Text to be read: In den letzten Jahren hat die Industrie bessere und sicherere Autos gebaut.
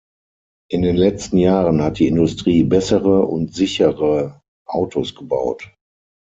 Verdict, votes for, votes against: rejected, 3, 6